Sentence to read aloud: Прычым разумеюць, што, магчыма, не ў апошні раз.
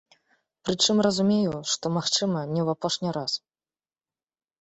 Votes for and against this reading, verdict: 2, 0, accepted